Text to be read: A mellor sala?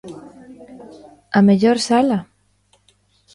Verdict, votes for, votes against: rejected, 1, 2